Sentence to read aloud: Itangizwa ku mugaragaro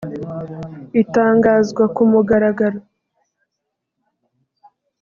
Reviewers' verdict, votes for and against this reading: rejected, 1, 2